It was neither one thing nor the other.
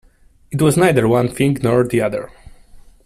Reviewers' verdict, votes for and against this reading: accepted, 2, 0